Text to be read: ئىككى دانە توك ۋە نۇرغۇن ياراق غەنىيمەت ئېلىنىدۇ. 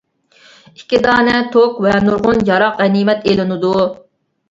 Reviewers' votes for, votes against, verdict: 2, 0, accepted